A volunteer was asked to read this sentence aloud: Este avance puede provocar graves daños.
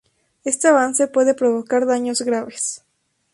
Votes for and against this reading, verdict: 2, 2, rejected